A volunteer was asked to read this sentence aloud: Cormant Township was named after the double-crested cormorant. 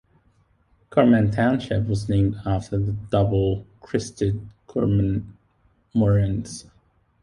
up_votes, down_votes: 0, 2